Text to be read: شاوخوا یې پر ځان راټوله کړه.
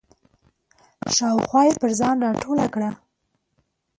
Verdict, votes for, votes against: accepted, 2, 0